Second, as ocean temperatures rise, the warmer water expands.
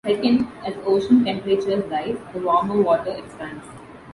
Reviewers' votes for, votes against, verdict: 1, 2, rejected